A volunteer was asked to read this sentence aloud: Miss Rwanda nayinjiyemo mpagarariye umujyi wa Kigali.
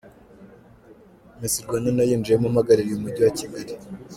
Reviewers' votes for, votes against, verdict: 2, 0, accepted